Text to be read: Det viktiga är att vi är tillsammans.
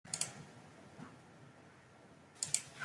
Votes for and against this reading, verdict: 0, 2, rejected